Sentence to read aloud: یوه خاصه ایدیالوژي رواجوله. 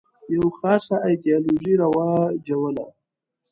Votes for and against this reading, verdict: 2, 3, rejected